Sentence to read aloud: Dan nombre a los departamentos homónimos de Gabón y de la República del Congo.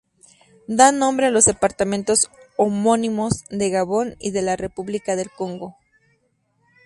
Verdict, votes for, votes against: rejected, 2, 2